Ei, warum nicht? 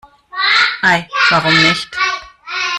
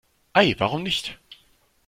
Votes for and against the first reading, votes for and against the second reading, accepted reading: 1, 2, 2, 0, second